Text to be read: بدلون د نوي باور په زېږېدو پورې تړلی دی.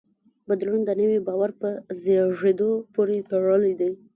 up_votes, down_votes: 1, 2